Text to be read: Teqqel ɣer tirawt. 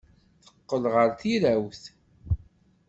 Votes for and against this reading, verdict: 2, 0, accepted